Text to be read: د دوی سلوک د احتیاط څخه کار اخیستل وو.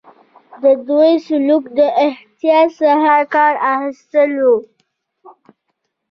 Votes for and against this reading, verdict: 1, 2, rejected